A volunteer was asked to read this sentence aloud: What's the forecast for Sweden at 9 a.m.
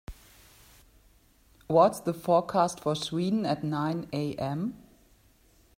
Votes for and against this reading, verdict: 0, 2, rejected